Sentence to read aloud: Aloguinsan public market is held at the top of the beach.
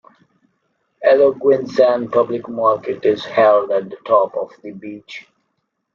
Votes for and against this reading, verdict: 2, 0, accepted